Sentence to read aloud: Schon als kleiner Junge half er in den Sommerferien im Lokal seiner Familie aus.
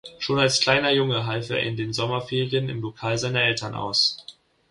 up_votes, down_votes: 0, 2